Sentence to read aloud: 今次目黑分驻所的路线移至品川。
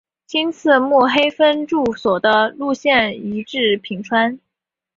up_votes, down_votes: 2, 0